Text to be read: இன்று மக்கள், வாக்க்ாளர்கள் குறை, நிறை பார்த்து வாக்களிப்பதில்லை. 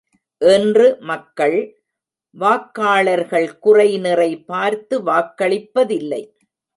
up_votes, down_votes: 0, 2